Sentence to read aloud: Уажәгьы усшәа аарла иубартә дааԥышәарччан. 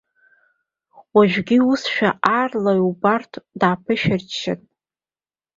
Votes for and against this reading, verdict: 3, 0, accepted